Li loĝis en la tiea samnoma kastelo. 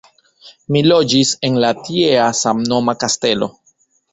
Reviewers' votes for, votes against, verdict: 2, 0, accepted